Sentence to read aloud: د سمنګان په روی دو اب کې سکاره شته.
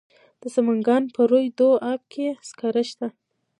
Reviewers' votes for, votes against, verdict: 0, 2, rejected